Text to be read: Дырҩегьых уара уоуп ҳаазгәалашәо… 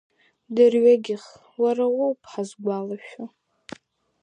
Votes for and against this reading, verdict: 2, 0, accepted